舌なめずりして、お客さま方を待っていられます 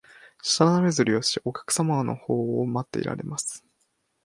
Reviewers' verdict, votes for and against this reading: rejected, 0, 4